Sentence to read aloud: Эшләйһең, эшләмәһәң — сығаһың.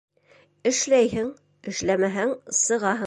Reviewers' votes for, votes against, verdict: 1, 2, rejected